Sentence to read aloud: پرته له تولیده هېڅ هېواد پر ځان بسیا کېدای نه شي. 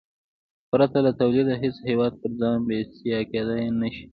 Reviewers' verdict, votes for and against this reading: accepted, 2, 0